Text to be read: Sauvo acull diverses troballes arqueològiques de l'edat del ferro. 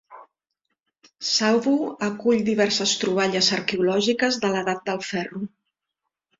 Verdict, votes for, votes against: accepted, 3, 2